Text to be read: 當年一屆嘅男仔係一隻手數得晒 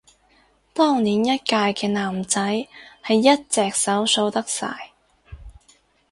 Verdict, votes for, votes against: accepted, 2, 0